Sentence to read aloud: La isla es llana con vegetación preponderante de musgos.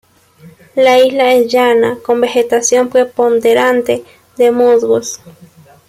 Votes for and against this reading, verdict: 2, 0, accepted